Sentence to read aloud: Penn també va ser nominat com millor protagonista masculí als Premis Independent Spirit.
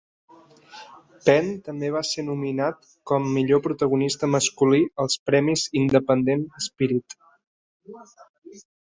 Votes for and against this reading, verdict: 3, 0, accepted